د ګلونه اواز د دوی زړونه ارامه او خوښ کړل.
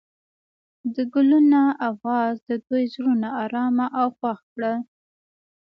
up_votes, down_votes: 2, 0